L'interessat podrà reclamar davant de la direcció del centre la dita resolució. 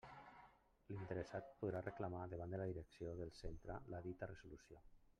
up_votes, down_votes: 1, 2